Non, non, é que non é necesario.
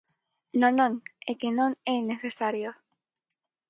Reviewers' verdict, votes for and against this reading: accepted, 4, 0